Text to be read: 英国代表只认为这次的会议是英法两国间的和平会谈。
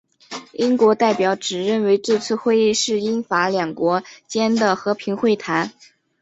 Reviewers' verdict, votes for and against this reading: accepted, 2, 0